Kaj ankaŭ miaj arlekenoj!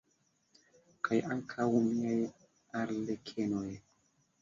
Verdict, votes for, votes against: accepted, 2, 1